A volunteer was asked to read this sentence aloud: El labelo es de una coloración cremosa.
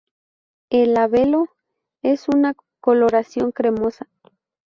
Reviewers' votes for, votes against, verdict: 0, 2, rejected